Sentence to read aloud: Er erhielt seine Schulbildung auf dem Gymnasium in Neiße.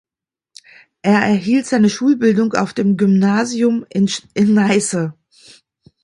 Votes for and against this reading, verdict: 0, 2, rejected